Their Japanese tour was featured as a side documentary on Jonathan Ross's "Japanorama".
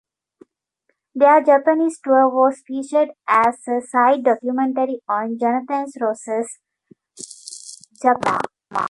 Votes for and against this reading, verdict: 0, 2, rejected